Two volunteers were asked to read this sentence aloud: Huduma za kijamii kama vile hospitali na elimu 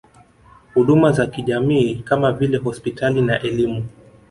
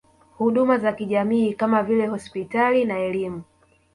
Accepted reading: first